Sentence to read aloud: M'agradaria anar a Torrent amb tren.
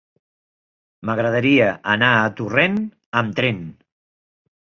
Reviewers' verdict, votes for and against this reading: accepted, 3, 0